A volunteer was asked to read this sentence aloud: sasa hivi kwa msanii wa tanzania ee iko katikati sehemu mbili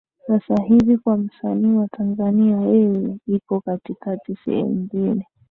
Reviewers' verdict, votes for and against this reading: accepted, 9, 1